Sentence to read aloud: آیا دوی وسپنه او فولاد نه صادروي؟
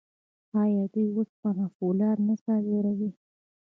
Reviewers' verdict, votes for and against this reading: rejected, 1, 2